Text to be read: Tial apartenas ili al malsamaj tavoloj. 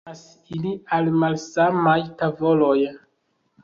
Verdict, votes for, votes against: rejected, 1, 2